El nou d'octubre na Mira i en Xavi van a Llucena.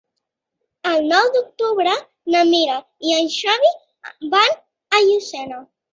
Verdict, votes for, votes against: accepted, 4, 0